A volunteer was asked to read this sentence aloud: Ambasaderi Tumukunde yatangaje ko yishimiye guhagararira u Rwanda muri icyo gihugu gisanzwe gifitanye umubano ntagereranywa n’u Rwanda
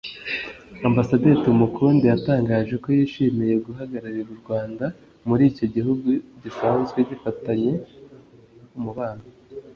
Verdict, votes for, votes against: rejected, 0, 2